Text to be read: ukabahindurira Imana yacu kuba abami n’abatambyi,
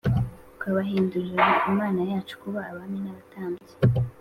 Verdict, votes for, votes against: accepted, 2, 0